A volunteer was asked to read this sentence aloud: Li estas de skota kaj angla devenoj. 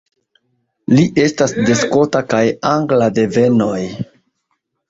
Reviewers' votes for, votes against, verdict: 2, 0, accepted